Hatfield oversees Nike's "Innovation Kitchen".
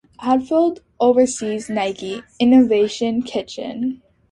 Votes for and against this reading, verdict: 2, 0, accepted